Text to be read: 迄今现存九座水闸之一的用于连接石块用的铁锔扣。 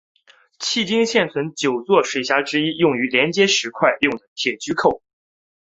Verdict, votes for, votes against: accepted, 5, 0